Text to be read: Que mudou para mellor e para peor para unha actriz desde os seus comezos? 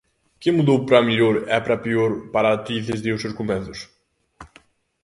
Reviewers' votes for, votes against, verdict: 0, 2, rejected